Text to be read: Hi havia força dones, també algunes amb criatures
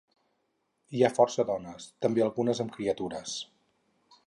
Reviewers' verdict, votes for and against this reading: rejected, 2, 4